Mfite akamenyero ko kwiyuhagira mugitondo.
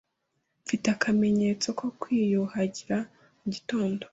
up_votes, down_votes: 1, 2